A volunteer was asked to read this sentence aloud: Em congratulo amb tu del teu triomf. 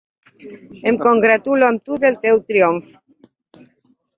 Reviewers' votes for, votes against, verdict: 4, 1, accepted